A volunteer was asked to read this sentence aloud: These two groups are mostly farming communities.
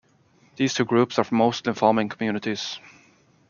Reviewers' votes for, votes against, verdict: 0, 2, rejected